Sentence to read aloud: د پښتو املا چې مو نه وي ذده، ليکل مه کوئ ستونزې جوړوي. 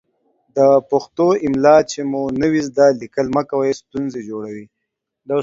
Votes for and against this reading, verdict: 2, 0, accepted